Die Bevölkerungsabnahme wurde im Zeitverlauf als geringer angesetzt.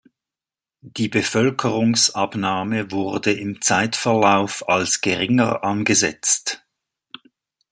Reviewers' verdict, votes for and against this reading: accepted, 2, 0